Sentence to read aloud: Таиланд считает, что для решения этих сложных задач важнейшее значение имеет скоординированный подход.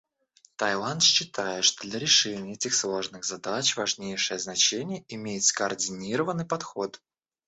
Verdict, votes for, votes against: rejected, 0, 2